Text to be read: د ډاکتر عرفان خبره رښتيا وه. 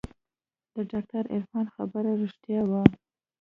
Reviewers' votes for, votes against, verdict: 2, 1, accepted